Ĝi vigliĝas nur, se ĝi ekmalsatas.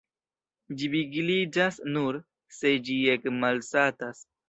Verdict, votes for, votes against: accepted, 2, 0